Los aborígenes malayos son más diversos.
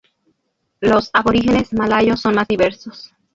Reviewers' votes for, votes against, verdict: 0, 2, rejected